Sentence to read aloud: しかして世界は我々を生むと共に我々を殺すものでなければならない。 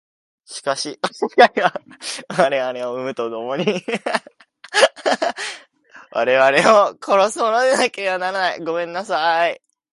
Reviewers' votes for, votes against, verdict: 0, 2, rejected